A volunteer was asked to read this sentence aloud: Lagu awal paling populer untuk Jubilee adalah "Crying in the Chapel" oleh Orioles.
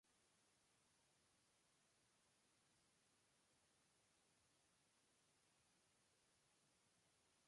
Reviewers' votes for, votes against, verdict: 0, 2, rejected